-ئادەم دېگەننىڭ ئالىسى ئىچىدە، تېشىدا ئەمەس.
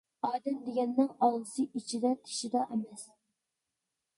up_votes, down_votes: 2, 1